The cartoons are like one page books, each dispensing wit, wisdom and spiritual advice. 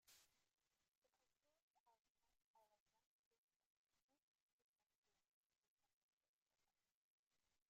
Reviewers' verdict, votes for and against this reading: rejected, 0, 3